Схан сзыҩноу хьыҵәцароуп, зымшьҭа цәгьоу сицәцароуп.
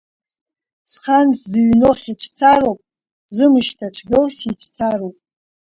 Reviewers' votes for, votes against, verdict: 0, 2, rejected